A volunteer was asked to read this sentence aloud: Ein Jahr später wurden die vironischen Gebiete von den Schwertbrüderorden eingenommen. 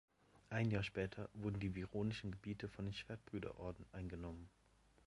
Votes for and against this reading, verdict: 2, 0, accepted